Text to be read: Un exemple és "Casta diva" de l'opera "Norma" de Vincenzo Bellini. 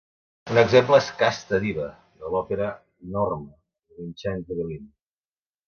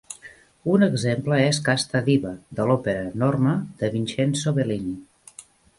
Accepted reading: second